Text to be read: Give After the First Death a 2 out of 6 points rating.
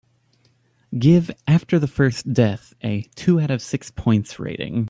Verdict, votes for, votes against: rejected, 0, 2